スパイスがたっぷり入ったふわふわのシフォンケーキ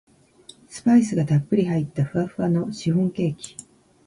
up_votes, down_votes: 1, 2